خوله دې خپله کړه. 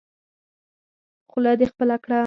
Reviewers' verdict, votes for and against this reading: accepted, 6, 0